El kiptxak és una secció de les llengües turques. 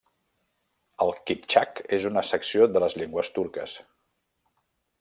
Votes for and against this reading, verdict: 1, 2, rejected